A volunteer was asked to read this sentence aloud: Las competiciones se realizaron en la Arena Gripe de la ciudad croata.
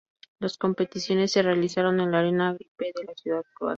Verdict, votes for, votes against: rejected, 0, 2